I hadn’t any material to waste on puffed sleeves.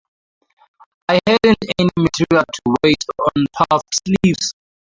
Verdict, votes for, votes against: rejected, 0, 2